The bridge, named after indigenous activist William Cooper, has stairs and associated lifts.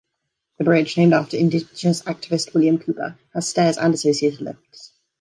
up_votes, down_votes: 2, 1